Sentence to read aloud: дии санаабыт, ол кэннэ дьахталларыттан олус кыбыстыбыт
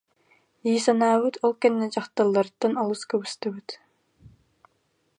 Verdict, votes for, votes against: accepted, 2, 0